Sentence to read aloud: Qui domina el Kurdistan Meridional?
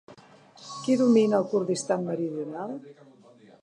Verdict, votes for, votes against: rejected, 0, 2